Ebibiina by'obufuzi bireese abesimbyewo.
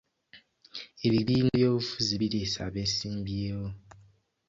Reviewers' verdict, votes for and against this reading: rejected, 1, 2